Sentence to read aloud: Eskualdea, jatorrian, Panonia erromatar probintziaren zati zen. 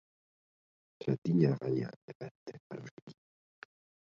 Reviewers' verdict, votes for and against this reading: rejected, 0, 2